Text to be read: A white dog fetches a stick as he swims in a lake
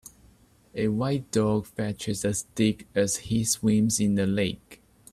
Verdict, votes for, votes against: accepted, 2, 0